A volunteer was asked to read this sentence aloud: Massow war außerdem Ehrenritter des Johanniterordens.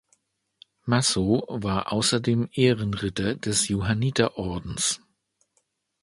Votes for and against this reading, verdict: 2, 0, accepted